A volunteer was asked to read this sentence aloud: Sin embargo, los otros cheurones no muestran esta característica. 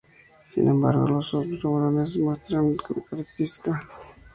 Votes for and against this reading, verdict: 0, 2, rejected